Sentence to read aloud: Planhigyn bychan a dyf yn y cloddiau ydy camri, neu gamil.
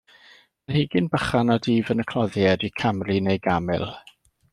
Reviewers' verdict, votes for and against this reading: accepted, 2, 0